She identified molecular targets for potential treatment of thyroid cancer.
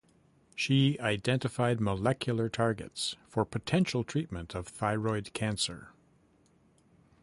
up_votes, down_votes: 2, 0